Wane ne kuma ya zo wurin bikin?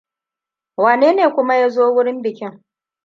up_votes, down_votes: 2, 0